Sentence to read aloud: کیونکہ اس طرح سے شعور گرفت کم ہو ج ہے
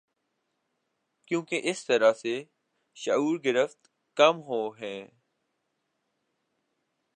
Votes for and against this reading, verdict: 0, 3, rejected